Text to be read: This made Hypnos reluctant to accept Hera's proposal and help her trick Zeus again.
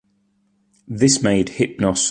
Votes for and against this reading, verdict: 0, 2, rejected